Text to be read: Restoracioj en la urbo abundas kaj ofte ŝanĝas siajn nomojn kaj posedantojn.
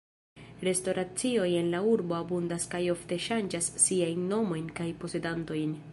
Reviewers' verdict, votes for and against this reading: accepted, 2, 1